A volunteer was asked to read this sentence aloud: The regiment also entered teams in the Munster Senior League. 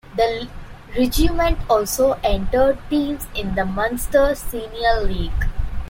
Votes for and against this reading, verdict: 0, 2, rejected